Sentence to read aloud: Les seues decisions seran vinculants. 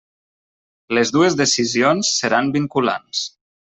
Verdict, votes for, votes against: rejected, 0, 2